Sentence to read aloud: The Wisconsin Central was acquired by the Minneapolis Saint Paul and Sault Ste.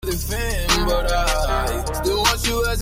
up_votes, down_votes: 0, 2